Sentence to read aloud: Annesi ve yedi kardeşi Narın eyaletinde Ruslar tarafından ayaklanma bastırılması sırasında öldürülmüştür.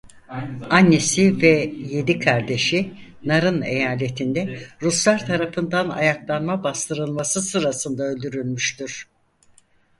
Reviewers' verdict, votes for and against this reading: rejected, 0, 4